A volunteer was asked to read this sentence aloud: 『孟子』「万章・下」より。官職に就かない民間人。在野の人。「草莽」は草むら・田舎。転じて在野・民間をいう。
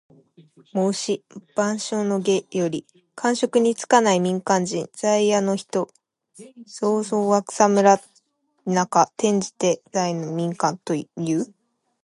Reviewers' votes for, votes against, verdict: 2, 0, accepted